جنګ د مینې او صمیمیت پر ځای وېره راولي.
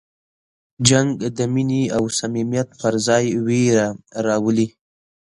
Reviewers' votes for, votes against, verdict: 2, 0, accepted